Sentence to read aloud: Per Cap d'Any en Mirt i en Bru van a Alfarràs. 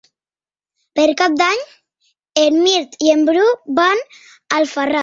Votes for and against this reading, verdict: 2, 0, accepted